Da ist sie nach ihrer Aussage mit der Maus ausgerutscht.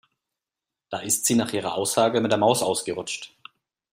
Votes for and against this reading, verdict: 2, 0, accepted